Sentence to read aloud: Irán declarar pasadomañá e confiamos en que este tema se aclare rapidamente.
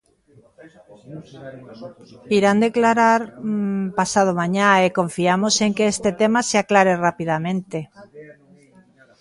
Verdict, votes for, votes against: rejected, 1, 2